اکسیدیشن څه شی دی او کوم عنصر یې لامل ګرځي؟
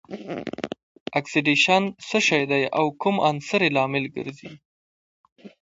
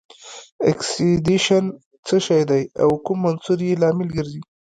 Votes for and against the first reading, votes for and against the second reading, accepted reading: 2, 0, 1, 2, first